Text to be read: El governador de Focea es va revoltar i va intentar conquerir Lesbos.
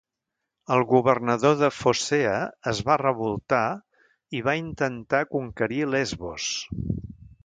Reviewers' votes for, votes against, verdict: 2, 0, accepted